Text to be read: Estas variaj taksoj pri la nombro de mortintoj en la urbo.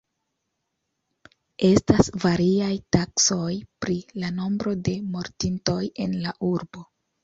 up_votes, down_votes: 2, 0